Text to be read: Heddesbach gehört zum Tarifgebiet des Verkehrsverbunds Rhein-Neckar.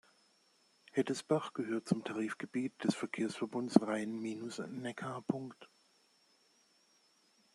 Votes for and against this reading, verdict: 0, 2, rejected